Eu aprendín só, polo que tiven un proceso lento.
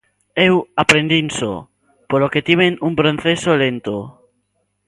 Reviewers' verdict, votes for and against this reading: rejected, 0, 2